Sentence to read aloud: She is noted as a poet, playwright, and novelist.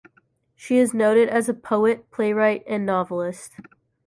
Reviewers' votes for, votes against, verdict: 3, 0, accepted